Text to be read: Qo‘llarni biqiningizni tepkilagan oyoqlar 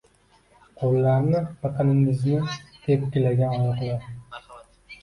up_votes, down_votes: 1, 2